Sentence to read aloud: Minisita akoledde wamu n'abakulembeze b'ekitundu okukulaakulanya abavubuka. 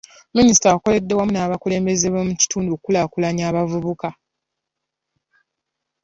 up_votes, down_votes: 0, 3